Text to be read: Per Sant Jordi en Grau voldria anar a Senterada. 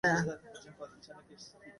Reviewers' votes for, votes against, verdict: 0, 2, rejected